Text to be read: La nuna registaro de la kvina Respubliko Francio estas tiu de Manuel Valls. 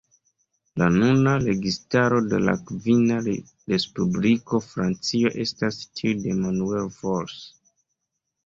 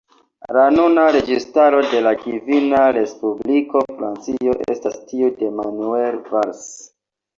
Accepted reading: second